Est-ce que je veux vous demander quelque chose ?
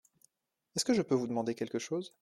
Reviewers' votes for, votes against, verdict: 2, 1, accepted